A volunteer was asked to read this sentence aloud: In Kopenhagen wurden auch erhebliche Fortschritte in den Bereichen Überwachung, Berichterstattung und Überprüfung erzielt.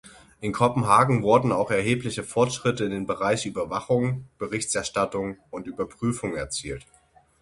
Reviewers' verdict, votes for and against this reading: rejected, 0, 6